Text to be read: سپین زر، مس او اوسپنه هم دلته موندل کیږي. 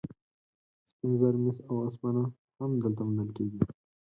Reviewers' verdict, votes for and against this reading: rejected, 2, 4